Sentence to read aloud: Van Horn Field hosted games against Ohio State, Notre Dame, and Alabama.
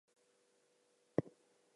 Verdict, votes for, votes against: rejected, 0, 2